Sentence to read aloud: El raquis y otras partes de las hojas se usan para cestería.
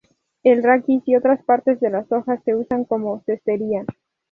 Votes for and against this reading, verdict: 2, 0, accepted